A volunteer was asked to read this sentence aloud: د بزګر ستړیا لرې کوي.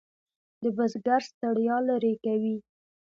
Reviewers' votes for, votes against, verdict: 1, 2, rejected